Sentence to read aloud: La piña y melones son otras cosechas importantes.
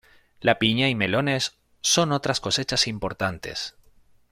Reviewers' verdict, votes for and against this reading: accepted, 2, 0